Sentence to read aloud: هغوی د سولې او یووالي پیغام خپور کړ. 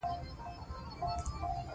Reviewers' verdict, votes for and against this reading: rejected, 0, 3